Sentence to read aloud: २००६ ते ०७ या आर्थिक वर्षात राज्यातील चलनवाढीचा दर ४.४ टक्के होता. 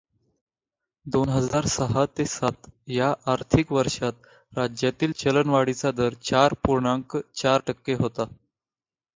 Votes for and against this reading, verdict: 0, 2, rejected